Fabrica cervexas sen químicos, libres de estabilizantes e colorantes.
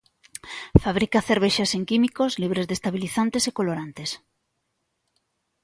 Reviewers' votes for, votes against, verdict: 2, 0, accepted